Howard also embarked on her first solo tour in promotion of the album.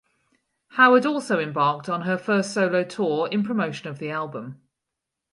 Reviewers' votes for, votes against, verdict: 4, 0, accepted